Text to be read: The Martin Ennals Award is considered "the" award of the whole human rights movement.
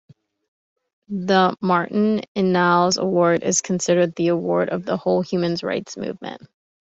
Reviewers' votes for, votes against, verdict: 3, 2, accepted